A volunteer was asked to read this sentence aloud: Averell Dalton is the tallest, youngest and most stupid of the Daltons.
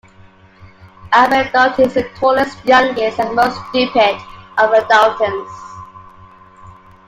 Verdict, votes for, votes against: accepted, 2, 1